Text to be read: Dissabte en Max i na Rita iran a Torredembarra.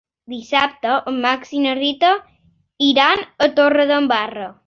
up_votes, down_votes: 2, 0